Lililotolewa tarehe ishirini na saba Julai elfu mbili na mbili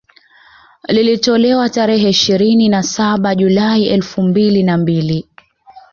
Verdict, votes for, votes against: rejected, 1, 2